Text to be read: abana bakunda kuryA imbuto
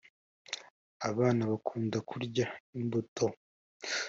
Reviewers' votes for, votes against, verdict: 2, 0, accepted